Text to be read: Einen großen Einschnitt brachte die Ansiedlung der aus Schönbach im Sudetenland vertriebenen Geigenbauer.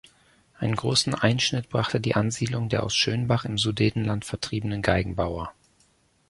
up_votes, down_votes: 2, 1